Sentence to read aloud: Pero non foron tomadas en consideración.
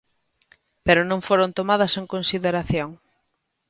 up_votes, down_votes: 0, 2